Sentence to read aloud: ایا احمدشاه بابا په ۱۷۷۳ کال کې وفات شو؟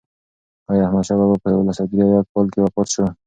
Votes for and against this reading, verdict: 0, 2, rejected